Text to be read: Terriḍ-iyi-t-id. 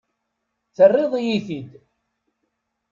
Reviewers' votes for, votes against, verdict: 2, 0, accepted